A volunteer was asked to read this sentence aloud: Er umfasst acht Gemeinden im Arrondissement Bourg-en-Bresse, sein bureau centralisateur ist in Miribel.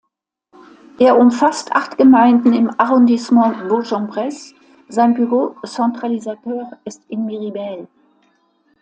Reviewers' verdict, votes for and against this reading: accepted, 2, 0